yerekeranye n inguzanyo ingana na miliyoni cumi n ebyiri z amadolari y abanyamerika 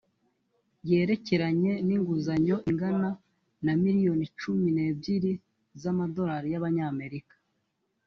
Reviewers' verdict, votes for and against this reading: rejected, 1, 2